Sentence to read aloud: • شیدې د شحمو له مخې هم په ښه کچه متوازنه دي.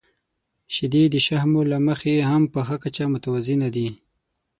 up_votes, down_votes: 6, 0